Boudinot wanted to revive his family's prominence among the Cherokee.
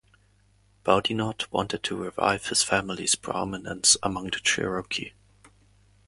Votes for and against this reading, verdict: 2, 0, accepted